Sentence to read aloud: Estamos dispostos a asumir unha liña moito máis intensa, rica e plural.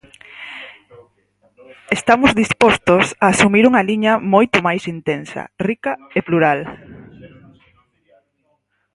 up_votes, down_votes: 2, 4